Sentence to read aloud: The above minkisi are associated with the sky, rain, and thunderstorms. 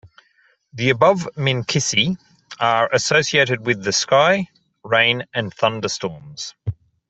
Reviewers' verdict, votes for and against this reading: accepted, 2, 0